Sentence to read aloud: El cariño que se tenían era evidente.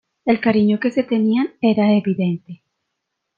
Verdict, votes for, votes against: accepted, 2, 0